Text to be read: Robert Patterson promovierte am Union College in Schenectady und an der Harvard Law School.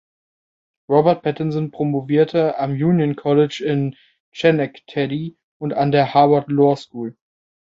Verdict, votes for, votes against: accepted, 2, 0